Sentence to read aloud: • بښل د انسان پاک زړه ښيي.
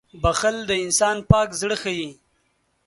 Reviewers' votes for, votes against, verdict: 4, 0, accepted